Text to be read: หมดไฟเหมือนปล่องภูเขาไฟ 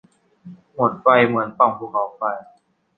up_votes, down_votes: 2, 0